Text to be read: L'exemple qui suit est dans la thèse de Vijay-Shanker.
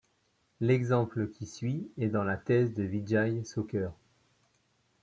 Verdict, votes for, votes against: accepted, 2, 0